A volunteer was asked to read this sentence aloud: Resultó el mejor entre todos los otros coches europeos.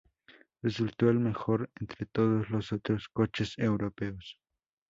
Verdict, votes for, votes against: accepted, 4, 0